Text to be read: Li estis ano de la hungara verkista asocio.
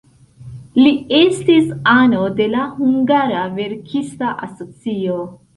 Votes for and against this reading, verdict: 2, 0, accepted